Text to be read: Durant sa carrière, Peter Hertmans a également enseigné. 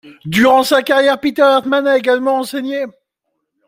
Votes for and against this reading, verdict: 2, 0, accepted